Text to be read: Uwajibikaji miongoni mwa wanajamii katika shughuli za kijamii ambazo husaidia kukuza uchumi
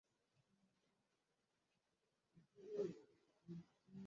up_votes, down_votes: 0, 2